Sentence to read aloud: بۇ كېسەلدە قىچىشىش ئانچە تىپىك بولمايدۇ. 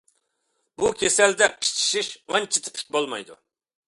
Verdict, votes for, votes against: accepted, 2, 1